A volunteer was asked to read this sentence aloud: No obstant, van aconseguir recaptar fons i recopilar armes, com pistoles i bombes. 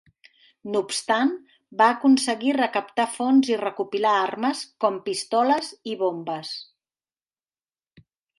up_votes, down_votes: 0, 2